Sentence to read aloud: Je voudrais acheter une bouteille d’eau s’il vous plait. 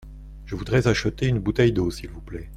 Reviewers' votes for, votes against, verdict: 2, 0, accepted